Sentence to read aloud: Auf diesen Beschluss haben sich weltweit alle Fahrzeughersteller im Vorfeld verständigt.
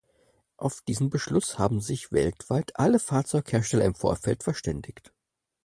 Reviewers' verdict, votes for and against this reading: accepted, 4, 0